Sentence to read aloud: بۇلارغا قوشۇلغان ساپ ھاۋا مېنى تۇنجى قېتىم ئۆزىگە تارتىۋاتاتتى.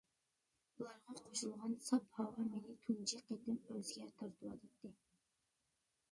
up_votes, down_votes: 0, 2